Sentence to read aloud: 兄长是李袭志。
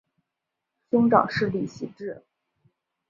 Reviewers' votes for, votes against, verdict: 3, 0, accepted